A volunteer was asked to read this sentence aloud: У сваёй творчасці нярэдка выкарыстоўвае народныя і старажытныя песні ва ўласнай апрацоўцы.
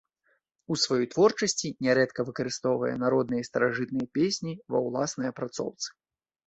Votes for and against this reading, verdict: 2, 0, accepted